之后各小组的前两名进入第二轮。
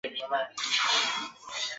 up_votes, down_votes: 0, 4